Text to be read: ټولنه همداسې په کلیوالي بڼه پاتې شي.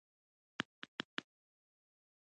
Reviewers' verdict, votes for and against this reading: rejected, 0, 2